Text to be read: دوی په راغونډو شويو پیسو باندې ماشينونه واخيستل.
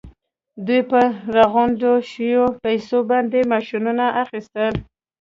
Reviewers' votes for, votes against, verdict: 2, 1, accepted